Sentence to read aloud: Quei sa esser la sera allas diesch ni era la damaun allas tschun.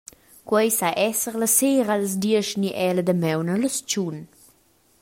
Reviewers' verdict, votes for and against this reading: accepted, 2, 0